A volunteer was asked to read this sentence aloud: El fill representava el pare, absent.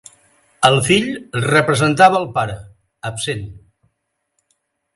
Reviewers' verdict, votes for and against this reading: accepted, 4, 0